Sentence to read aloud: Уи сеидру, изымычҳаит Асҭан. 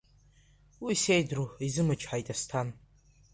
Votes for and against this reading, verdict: 2, 1, accepted